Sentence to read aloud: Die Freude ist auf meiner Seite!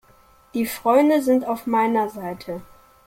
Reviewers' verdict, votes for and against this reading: rejected, 0, 2